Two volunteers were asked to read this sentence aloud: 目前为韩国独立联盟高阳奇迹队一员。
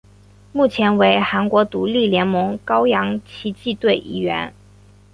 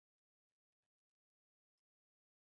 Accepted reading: first